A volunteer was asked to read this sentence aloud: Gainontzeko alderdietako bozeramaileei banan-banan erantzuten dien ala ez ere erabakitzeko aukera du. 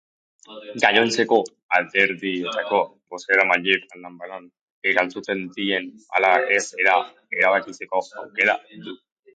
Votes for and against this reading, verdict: 2, 2, rejected